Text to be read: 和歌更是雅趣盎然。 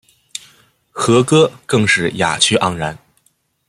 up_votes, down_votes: 2, 0